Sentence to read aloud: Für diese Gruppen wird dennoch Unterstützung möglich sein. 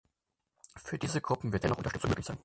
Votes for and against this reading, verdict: 0, 6, rejected